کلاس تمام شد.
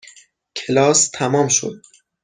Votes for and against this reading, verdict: 6, 0, accepted